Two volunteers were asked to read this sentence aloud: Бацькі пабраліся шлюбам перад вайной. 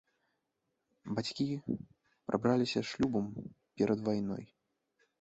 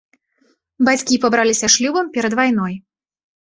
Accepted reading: second